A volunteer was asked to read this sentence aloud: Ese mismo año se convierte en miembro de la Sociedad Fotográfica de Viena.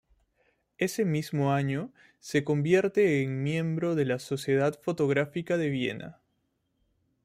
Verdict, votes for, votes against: accepted, 2, 0